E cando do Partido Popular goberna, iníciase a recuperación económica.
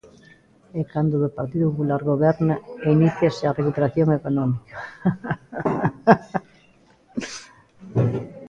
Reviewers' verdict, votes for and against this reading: rejected, 0, 2